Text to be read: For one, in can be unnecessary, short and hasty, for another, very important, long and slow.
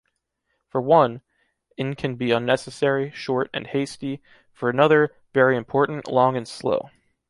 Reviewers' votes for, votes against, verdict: 2, 0, accepted